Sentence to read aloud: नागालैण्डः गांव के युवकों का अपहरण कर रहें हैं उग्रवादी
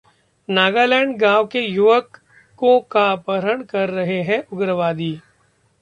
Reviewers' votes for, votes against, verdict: 1, 2, rejected